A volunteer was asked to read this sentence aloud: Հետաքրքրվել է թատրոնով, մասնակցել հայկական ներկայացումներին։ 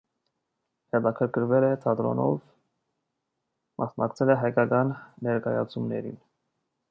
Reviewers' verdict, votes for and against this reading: rejected, 1, 2